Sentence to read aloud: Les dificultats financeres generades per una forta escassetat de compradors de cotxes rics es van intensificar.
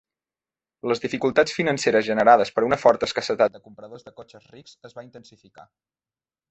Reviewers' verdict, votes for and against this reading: rejected, 0, 2